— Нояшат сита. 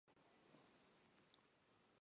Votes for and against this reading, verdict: 1, 2, rejected